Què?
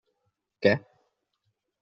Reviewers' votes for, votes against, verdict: 1, 2, rejected